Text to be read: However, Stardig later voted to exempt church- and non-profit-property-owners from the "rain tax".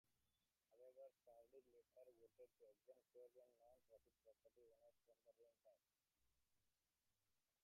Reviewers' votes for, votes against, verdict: 0, 2, rejected